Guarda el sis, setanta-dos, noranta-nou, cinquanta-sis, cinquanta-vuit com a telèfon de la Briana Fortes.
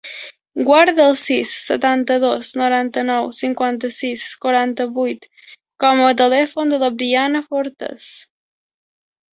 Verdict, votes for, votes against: rejected, 1, 2